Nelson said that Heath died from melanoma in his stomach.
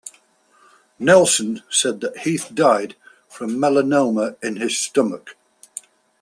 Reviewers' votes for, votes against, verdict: 2, 0, accepted